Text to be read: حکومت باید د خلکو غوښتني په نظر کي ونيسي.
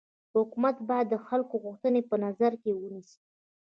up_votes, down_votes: 2, 1